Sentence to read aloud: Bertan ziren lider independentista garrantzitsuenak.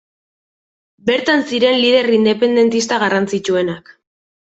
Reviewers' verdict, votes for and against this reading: accepted, 2, 0